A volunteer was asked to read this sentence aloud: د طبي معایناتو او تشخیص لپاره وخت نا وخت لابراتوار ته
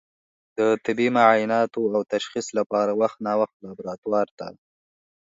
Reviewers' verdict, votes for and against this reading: accepted, 4, 0